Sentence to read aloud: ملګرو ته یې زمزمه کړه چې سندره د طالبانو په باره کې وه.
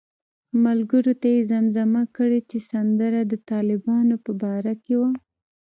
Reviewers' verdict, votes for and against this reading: rejected, 0, 2